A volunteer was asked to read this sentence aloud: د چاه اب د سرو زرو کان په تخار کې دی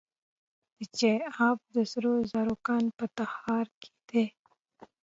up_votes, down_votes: 2, 0